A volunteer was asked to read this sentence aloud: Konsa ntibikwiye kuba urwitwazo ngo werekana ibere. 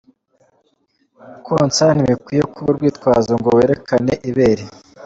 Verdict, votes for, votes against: accepted, 2, 0